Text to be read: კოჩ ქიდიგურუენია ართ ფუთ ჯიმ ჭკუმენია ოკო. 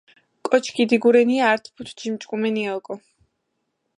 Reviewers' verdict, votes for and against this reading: rejected, 0, 2